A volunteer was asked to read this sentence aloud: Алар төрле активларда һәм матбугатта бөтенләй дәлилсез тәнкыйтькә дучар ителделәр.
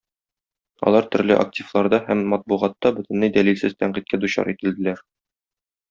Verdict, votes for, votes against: accepted, 2, 0